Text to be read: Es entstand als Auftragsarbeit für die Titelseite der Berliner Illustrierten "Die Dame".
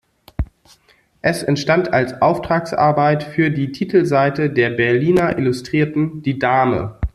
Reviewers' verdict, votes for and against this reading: accepted, 2, 1